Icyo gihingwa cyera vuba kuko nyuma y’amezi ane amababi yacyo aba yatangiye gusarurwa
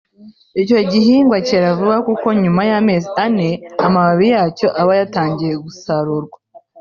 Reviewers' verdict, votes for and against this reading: accepted, 3, 0